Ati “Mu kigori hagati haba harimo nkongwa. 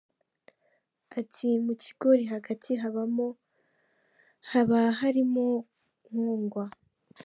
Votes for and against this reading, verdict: 0, 2, rejected